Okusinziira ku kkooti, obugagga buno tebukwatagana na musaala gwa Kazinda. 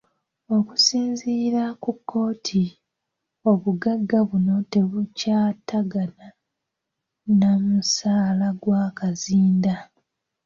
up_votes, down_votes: 0, 2